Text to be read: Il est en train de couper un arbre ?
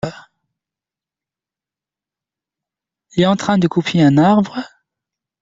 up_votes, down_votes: 1, 2